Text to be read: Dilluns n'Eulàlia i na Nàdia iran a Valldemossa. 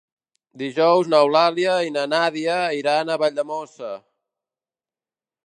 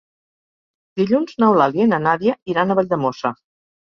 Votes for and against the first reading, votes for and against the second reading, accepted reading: 0, 2, 2, 0, second